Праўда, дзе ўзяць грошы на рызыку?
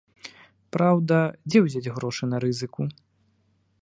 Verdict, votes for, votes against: accepted, 2, 0